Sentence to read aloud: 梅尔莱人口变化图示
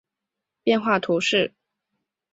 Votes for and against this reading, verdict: 0, 2, rejected